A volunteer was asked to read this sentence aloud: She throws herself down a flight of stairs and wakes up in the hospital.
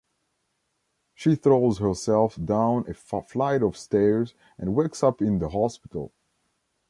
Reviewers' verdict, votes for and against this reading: accepted, 2, 1